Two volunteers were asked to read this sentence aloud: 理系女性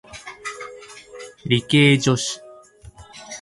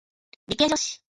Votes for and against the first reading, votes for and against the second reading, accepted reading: 2, 4, 2, 1, second